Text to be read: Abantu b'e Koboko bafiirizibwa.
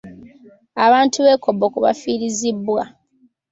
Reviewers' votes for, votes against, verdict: 2, 0, accepted